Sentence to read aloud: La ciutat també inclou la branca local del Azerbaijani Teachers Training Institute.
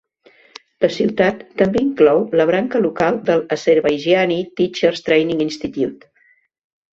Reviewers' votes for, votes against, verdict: 2, 1, accepted